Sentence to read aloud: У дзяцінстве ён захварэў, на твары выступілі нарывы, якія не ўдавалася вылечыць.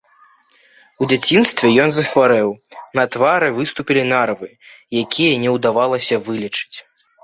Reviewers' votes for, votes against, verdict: 1, 2, rejected